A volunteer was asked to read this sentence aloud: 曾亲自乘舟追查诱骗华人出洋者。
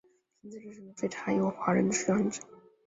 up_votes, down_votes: 0, 3